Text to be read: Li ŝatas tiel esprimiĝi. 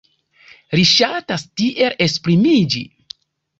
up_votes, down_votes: 0, 2